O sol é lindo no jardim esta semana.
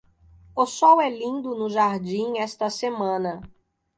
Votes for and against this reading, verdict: 2, 0, accepted